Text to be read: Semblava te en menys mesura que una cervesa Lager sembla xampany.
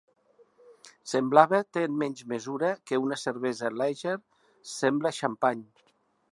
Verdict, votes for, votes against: accepted, 5, 1